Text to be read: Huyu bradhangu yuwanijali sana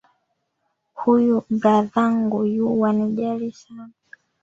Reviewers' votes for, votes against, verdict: 1, 2, rejected